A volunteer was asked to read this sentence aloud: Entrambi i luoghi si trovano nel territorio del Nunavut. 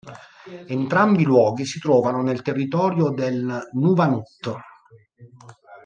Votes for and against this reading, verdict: 2, 0, accepted